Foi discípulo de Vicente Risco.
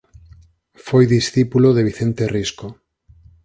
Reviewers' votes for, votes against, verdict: 4, 0, accepted